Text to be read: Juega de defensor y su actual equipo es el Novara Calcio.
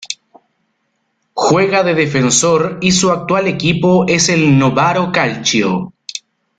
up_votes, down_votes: 0, 2